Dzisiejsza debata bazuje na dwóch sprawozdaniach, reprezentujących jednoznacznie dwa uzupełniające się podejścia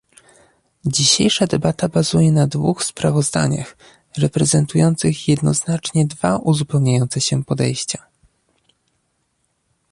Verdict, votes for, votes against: accepted, 2, 0